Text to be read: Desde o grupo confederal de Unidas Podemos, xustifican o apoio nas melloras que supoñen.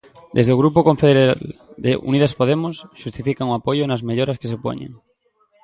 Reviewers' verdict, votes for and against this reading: rejected, 0, 2